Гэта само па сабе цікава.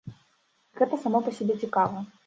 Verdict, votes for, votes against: rejected, 2, 3